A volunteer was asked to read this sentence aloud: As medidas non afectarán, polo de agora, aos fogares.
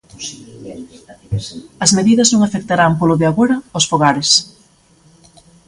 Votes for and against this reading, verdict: 1, 2, rejected